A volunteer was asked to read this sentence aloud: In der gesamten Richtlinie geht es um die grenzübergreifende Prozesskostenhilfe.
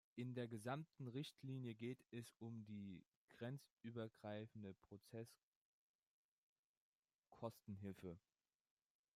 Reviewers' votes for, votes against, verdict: 1, 2, rejected